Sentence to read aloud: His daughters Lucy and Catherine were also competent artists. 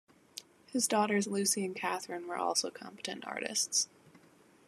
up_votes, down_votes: 2, 0